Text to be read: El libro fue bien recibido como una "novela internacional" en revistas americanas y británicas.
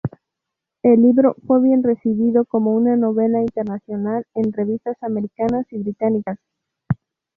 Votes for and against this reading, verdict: 0, 2, rejected